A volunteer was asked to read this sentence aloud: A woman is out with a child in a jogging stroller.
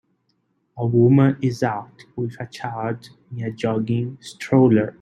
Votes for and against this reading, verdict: 0, 2, rejected